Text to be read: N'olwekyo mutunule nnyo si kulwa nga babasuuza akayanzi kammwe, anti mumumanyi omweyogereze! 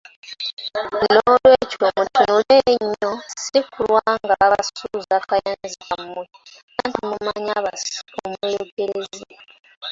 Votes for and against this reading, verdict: 1, 2, rejected